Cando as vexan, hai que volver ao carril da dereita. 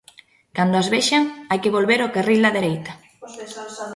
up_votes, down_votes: 0, 2